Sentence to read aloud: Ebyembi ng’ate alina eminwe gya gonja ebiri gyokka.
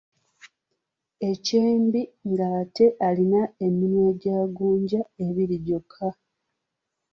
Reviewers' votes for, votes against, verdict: 2, 1, accepted